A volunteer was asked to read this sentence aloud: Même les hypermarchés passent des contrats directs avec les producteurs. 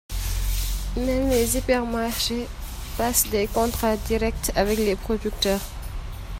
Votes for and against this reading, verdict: 2, 0, accepted